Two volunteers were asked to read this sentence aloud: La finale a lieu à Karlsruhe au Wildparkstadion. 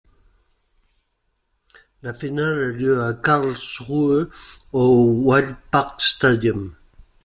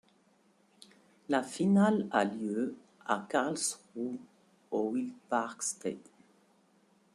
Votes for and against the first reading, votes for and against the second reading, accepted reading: 2, 1, 1, 3, first